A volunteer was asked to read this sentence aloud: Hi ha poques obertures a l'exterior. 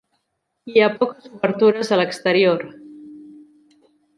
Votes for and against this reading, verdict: 1, 4, rejected